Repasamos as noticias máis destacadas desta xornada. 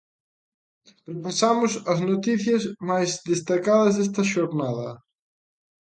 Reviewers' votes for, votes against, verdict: 2, 0, accepted